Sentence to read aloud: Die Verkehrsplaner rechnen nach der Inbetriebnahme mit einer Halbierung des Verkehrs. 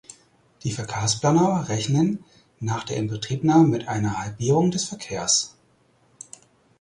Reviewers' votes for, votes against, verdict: 4, 2, accepted